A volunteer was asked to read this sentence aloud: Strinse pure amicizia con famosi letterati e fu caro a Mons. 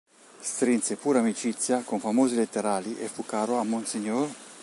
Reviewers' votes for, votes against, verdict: 2, 3, rejected